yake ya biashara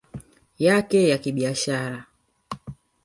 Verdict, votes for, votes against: rejected, 1, 2